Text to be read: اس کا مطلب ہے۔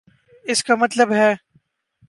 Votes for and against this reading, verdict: 2, 0, accepted